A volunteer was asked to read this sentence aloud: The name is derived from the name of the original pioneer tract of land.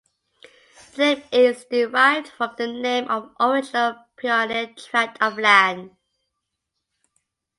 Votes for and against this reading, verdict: 0, 2, rejected